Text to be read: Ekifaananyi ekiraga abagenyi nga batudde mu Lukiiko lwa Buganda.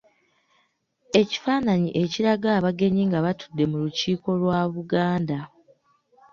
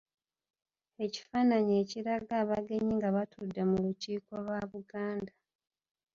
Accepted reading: first